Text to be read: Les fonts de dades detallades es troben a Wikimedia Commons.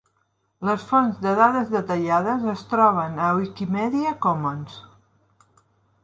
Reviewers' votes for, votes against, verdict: 3, 0, accepted